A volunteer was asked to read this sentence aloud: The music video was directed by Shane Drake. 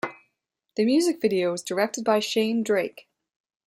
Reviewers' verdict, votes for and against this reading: accepted, 2, 0